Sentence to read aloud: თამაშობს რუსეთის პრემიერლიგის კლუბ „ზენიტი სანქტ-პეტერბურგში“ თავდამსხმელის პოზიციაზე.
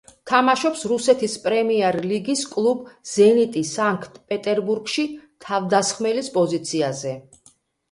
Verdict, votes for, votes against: accepted, 2, 0